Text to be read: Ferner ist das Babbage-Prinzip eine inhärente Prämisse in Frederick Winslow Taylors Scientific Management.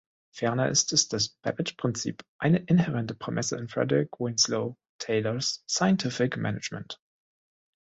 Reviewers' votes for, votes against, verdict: 0, 3, rejected